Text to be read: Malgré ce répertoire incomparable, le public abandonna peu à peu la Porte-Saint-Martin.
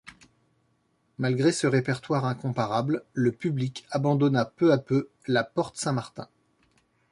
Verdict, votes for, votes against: accepted, 2, 0